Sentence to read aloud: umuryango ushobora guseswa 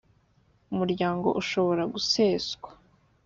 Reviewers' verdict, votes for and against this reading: accepted, 5, 0